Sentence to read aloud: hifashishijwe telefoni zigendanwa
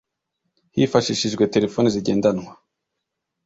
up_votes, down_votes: 2, 0